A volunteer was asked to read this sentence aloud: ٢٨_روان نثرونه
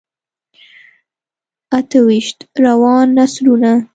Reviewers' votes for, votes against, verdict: 0, 2, rejected